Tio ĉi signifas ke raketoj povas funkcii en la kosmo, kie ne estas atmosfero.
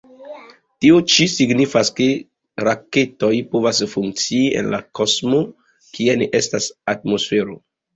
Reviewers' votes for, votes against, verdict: 1, 2, rejected